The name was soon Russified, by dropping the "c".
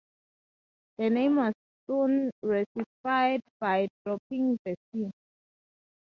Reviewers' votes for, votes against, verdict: 4, 0, accepted